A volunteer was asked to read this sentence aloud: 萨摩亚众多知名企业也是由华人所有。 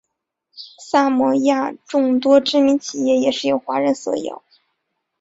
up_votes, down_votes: 2, 0